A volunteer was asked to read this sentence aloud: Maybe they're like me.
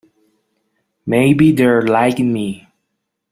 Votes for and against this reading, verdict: 2, 0, accepted